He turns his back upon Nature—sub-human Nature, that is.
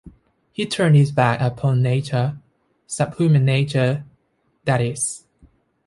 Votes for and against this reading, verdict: 1, 2, rejected